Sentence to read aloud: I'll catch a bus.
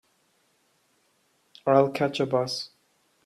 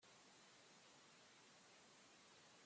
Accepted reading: first